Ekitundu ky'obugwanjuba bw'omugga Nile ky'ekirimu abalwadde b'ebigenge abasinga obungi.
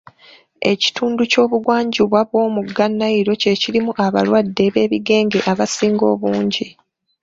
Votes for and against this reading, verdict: 2, 1, accepted